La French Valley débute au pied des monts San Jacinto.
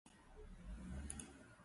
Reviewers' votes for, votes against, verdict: 0, 4, rejected